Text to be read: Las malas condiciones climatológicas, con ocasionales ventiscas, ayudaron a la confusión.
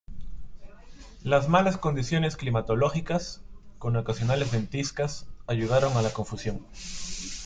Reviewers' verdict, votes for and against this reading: accepted, 2, 0